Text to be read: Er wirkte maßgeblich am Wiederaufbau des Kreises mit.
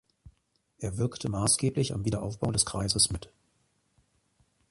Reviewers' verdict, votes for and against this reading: accepted, 3, 0